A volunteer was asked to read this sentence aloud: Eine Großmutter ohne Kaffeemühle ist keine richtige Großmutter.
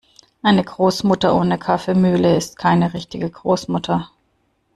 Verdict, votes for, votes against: accepted, 2, 0